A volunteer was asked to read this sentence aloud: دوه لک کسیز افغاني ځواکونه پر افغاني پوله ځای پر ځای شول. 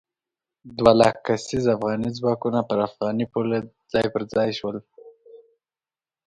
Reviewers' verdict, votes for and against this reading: accepted, 2, 0